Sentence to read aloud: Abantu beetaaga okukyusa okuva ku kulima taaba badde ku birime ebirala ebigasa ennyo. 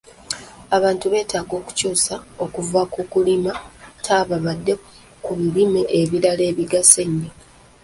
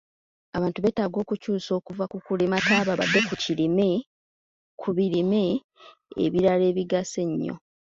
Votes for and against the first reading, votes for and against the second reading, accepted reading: 2, 0, 0, 3, first